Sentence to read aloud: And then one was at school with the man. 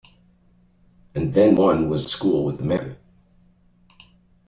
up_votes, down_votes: 0, 2